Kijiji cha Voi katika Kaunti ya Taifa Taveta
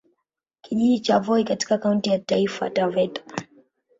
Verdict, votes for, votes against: accepted, 3, 0